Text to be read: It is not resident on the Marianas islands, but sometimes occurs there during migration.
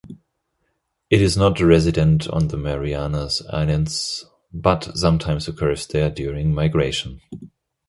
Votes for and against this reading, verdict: 2, 0, accepted